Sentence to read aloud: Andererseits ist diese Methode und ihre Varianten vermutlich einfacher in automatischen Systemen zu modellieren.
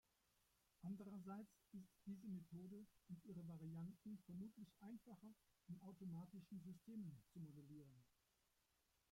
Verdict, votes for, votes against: rejected, 0, 2